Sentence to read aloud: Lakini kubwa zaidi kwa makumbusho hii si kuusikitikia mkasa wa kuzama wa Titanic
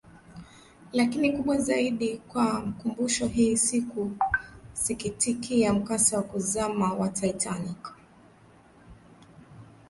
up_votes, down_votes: 1, 2